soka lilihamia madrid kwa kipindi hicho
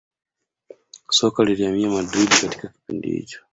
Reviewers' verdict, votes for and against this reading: accepted, 2, 0